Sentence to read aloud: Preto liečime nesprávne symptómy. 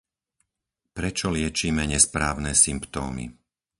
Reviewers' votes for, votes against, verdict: 2, 4, rejected